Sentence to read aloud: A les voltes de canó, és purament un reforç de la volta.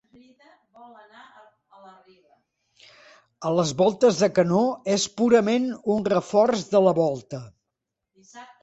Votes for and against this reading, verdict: 1, 2, rejected